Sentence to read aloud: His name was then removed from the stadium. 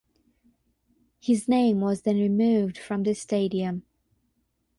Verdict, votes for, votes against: accepted, 6, 0